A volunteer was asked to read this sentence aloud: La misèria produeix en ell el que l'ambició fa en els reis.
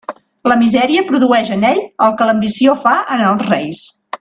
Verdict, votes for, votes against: accepted, 3, 0